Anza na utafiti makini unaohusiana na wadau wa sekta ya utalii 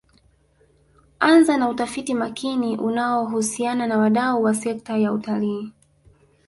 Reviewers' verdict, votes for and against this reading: accepted, 3, 1